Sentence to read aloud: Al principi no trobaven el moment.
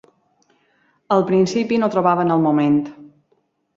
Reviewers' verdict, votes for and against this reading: accepted, 3, 0